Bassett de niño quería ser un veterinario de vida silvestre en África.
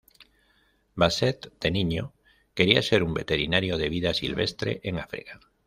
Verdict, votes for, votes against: accepted, 2, 0